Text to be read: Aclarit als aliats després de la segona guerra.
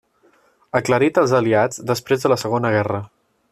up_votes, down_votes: 2, 0